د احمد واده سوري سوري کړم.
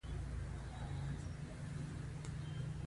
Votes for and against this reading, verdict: 1, 2, rejected